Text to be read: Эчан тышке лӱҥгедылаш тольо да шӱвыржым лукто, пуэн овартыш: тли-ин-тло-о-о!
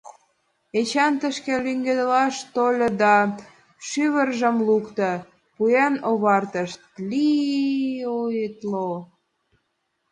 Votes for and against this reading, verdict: 2, 1, accepted